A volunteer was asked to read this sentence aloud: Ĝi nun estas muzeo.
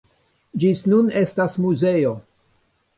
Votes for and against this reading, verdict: 0, 2, rejected